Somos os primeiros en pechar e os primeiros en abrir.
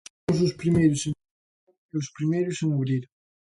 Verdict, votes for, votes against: rejected, 0, 2